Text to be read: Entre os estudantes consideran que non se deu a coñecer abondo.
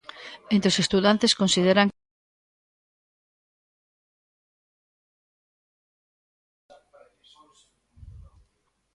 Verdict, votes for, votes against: rejected, 0, 2